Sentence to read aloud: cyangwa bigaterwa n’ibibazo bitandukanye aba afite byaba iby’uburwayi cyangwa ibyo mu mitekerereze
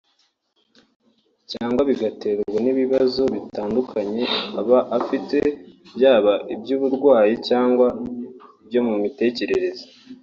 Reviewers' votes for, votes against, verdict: 3, 0, accepted